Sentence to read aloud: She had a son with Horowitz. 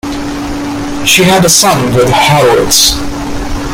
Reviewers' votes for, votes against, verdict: 1, 2, rejected